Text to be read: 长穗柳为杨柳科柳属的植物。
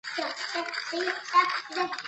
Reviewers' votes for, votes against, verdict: 0, 3, rejected